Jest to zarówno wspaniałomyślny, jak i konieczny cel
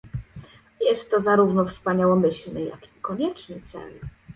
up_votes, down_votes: 2, 0